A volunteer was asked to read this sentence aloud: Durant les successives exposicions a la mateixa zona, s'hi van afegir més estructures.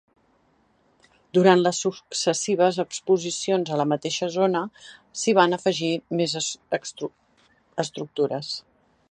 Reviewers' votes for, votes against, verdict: 0, 2, rejected